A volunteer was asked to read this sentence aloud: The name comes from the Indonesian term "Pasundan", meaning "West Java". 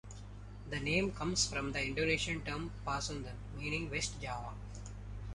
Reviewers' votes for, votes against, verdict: 2, 1, accepted